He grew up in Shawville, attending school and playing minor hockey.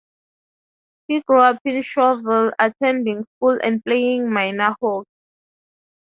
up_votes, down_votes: 2, 0